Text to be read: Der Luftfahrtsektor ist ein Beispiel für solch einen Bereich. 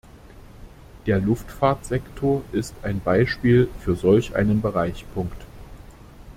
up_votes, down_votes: 1, 2